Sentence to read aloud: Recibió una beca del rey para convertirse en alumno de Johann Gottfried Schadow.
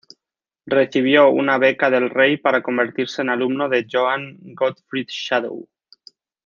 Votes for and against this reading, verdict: 0, 2, rejected